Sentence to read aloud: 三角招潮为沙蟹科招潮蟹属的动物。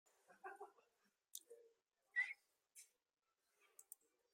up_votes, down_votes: 0, 2